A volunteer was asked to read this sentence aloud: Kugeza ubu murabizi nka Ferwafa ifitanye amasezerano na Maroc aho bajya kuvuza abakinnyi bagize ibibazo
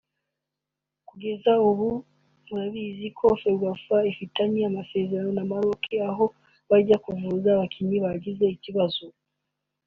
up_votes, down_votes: 0, 2